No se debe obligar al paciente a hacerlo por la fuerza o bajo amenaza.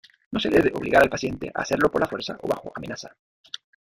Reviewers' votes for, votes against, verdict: 0, 2, rejected